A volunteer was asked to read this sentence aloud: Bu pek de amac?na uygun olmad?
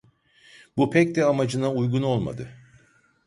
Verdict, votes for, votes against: rejected, 0, 2